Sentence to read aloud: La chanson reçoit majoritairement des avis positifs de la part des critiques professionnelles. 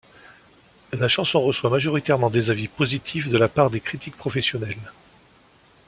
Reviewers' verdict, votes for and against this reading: accepted, 2, 0